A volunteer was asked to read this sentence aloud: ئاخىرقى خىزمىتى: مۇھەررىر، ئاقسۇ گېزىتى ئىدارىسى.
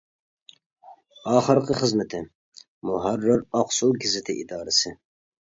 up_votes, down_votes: 3, 0